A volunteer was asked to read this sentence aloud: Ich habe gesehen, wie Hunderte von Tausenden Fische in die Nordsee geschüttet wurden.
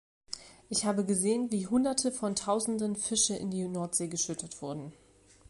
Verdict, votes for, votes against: accepted, 2, 0